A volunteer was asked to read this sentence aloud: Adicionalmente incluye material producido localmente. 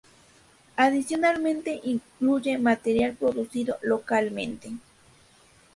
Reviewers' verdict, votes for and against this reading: accepted, 2, 0